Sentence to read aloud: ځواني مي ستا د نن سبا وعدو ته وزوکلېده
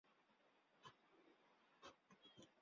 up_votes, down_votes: 0, 2